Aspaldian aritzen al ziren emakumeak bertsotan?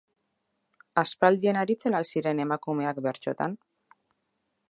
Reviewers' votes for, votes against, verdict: 2, 0, accepted